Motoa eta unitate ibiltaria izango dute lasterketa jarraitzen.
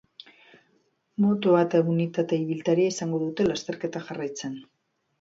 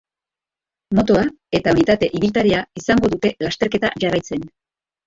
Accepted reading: first